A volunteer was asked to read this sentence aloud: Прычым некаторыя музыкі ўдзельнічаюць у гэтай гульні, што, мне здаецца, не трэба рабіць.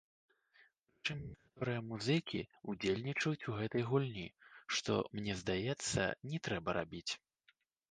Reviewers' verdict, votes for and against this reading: rejected, 1, 2